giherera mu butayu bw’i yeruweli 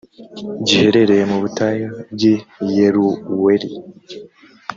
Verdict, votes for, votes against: rejected, 1, 2